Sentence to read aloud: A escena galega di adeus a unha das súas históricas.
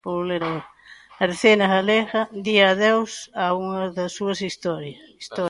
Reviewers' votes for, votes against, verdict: 0, 2, rejected